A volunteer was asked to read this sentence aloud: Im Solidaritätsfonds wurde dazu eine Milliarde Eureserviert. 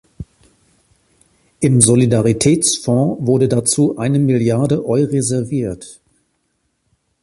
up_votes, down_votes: 3, 0